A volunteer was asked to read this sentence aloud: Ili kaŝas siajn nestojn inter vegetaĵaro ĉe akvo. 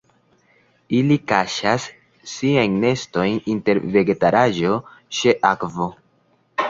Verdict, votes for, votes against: accepted, 2, 1